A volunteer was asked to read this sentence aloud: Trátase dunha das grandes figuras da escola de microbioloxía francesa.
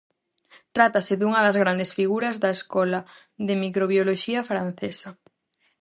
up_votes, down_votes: 4, 0